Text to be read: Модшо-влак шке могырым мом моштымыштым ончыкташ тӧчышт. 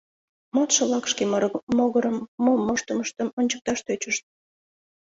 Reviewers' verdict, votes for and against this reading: accepted, 2, 0